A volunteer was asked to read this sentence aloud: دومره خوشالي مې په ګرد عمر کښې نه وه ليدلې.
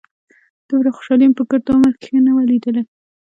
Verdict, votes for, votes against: rejected, 1, 2